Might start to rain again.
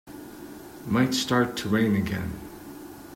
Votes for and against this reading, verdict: 2, 0, accepted